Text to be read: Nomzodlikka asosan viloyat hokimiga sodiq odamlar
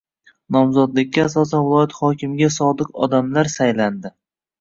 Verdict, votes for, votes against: rejected, 1, 2